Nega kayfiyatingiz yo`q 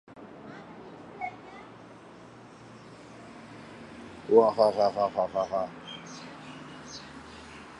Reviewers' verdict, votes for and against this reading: rejected, 0, 2